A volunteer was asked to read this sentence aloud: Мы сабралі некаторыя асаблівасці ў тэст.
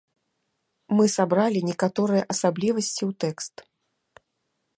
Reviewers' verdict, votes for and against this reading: rejected, 0, 2